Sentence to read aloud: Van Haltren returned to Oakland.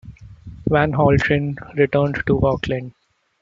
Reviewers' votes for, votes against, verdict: 1, 2, rejected